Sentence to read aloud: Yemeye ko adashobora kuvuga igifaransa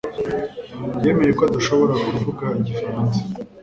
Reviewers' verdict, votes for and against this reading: accepted, 2, 0